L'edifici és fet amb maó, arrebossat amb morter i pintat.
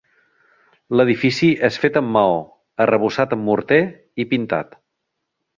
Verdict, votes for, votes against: accepted, 4, 0